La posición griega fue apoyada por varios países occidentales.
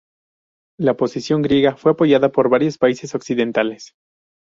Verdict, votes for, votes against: accepted, 2, 0